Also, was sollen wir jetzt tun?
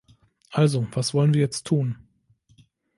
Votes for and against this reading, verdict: 1, 2, rejected